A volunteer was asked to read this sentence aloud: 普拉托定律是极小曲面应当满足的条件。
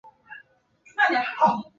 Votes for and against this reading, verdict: 0, 4, rejected